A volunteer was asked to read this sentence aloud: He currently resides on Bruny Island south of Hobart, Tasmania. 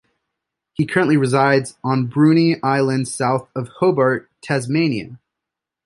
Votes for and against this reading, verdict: 2, 0, accepted